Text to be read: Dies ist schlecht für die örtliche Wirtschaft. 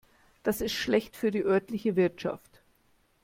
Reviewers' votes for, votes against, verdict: 0, 2, rejected